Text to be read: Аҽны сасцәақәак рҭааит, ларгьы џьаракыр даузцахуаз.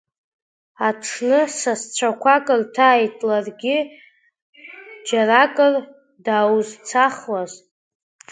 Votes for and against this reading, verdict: 2, 0, accepted